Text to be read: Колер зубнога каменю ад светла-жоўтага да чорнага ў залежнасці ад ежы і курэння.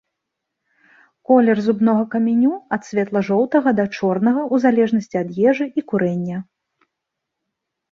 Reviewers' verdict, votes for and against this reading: rejected, 2, 3